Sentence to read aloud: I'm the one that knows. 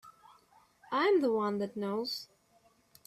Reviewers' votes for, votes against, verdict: 3, 0, accepted